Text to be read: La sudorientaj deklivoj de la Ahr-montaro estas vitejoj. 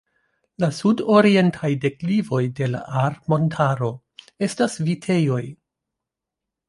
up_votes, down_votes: 2, 0